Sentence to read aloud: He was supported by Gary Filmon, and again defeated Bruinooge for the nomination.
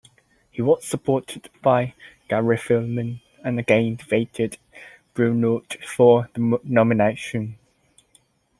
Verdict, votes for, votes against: accepted, 2, 0